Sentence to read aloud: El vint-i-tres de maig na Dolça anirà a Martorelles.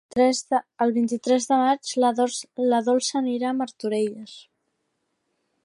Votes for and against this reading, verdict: 0, 2, rejected